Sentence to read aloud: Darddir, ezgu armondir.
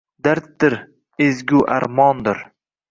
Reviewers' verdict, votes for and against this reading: accepted, 2, 0